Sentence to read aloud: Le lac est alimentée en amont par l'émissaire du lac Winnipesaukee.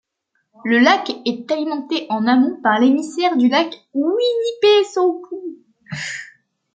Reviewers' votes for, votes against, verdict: 1, 2, rejected